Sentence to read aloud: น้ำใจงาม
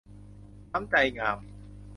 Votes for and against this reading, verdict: 2, 0, accepted